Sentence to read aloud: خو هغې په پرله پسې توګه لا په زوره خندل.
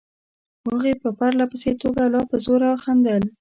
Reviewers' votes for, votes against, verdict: 2, 0, accepted